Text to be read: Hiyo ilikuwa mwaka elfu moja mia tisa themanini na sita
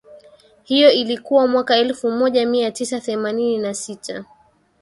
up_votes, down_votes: 2, 0